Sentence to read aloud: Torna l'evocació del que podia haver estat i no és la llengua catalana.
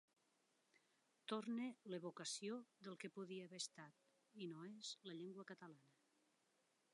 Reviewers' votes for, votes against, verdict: 0, 2, rejected